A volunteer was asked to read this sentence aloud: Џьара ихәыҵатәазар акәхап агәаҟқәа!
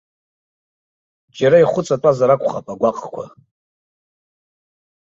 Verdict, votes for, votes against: accepted, 2, 0